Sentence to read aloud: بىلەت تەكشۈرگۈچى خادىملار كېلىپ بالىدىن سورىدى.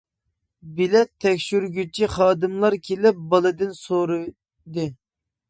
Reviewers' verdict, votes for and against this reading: accepted, 2, 1